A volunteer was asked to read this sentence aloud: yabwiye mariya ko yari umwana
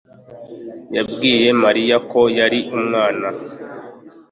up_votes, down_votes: 2, 0